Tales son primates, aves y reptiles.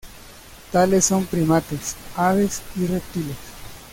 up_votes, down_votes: 2, 0